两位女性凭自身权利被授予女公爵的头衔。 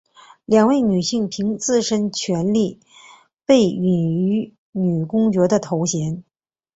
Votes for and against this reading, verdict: 1, 2, rejected